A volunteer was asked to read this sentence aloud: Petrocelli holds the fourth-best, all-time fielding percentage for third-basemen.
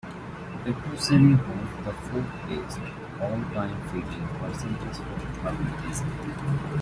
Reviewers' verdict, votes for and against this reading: rejected, 0, 2